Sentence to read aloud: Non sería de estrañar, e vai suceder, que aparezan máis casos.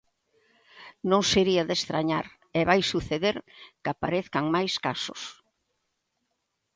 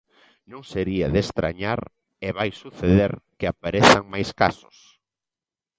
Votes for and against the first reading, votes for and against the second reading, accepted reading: 0, 2, 2, 0, second